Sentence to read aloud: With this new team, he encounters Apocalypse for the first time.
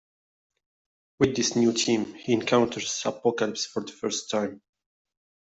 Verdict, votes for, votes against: rejected, 0, 2